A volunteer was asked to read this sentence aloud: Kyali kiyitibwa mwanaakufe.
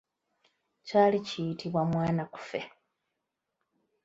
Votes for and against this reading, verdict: 1, 2, rejected